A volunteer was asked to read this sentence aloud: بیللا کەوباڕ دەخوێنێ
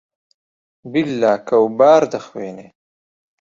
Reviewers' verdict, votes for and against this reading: accepted, 2, 0